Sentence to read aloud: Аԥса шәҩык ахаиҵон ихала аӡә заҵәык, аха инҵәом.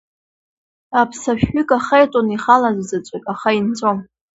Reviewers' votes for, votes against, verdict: 2, 0, accepted